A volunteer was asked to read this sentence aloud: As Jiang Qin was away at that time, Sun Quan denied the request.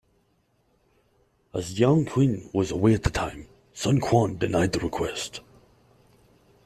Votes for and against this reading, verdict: 2, 0, accepted